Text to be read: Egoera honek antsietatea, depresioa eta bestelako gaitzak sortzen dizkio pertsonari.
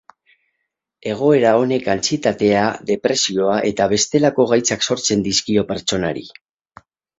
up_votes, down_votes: 0, 2